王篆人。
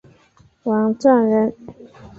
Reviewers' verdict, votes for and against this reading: accepted, 2, 0